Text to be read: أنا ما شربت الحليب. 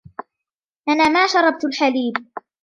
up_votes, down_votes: 2, 0